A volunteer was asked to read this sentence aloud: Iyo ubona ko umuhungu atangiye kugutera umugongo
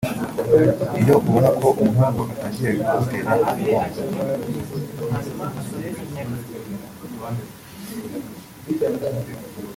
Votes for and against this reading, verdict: 0, 2, rejected